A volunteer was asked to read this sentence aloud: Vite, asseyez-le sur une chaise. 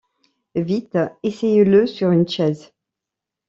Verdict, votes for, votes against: rejected, 1, 2